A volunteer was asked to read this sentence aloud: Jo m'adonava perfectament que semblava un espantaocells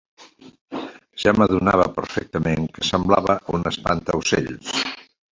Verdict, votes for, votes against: rejected, 0, 2